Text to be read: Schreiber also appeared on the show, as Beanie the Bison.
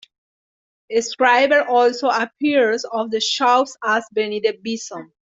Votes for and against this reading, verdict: 2, 1, accepted